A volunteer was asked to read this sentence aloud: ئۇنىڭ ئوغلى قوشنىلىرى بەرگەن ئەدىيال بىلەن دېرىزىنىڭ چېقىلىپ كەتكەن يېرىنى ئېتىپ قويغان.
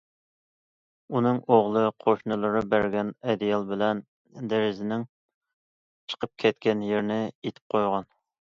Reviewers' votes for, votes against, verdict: 1, 2, rejected